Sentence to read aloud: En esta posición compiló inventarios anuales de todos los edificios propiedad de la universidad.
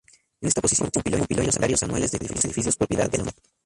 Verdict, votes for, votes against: rejected, 0, 2